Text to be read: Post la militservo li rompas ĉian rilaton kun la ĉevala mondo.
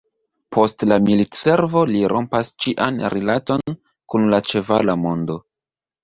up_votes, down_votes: 2, 1